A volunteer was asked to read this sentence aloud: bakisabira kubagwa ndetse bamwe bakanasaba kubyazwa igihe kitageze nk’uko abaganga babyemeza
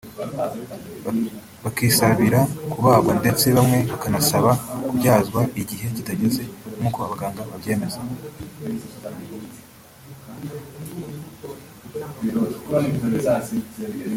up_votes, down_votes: 0, 2